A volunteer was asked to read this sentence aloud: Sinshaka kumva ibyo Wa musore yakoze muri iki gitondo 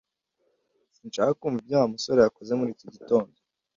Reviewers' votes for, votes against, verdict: 2, 0, accepted